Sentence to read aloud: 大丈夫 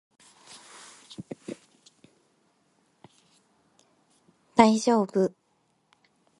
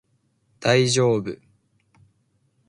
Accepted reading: second